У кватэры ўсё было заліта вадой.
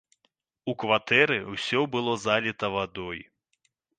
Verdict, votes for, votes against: rejected, 0, 2